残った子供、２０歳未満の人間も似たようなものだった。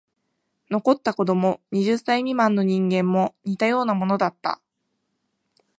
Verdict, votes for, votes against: rejected, 0, 2